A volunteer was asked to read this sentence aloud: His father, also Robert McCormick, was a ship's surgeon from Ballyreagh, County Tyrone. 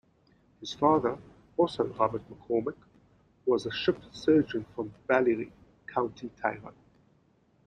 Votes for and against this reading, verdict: 1, 2, rejected